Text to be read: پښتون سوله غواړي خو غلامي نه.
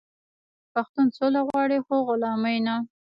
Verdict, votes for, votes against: rejected, 0, 2